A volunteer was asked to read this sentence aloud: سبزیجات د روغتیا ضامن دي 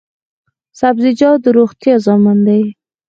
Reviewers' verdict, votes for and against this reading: accepted, 4, 0